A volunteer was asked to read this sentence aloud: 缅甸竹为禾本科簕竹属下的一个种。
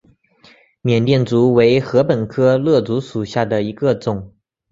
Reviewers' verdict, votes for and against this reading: accepted, 2, 0